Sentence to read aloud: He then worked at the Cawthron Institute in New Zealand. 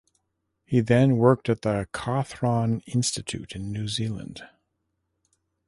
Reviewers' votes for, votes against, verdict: 2, 0, accepted